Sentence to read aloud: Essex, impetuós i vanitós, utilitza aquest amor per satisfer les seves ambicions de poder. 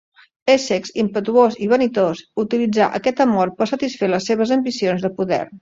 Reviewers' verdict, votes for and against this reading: rejected, 0, 2